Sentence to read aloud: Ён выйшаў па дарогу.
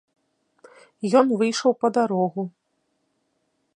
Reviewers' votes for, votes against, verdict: 2, 0, accepted